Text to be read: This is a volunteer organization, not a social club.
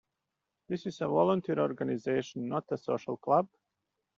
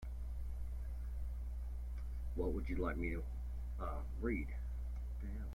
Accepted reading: first